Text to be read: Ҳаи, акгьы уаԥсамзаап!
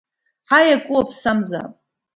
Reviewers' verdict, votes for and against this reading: rejected, 1, 2